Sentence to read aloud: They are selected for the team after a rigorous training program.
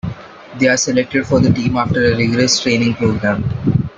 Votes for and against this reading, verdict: 2, 0, accepted